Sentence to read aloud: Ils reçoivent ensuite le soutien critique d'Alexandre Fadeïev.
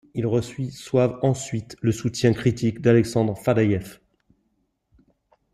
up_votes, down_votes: 1, 2